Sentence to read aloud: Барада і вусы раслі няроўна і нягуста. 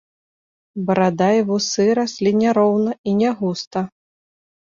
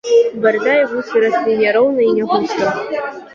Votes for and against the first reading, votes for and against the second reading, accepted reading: 3, 1, 1, 2, first